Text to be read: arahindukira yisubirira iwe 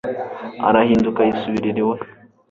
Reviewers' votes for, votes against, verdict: 1, 2, rejected